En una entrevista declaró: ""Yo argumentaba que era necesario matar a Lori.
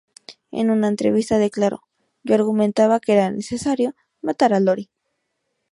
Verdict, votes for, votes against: accepted, 2, 0